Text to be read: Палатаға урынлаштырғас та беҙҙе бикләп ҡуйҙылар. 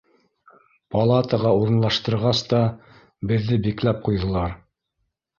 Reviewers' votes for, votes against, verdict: 2, 0, accepted